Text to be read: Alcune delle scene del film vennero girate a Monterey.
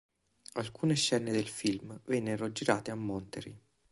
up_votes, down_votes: 1, 2